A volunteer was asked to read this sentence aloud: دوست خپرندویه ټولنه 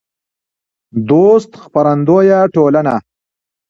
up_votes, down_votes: 1, 2